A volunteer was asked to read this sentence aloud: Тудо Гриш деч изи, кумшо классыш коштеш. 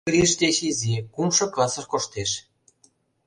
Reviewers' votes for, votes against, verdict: 0, 2, rejected